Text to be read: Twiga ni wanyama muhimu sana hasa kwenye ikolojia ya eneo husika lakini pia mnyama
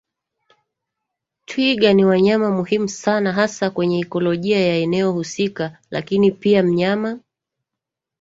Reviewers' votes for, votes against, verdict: 1, 2, rejected